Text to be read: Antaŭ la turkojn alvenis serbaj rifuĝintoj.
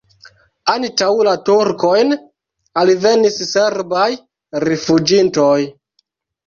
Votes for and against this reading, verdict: 1, 2, rejected